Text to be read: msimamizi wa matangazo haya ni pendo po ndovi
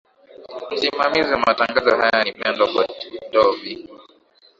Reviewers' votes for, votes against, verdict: 0, 2, rejected